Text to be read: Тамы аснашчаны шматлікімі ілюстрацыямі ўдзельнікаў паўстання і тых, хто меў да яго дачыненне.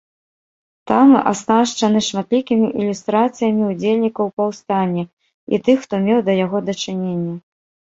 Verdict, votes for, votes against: rejected, 1, 2